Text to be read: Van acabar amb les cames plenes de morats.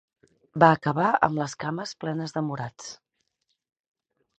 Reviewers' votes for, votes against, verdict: 2, 4, rejected